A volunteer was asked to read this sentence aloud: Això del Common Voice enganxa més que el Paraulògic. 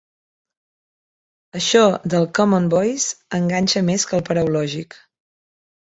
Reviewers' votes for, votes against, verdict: 2, 0, accepted